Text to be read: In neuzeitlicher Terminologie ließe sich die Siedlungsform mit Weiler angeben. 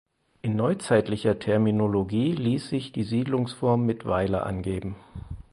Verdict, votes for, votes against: rejected, 2, 4